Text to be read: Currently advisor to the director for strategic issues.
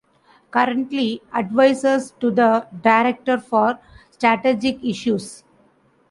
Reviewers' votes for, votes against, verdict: 0, 2, rejected